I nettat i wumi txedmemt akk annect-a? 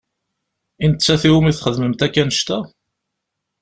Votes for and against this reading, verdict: 2, 0, accepted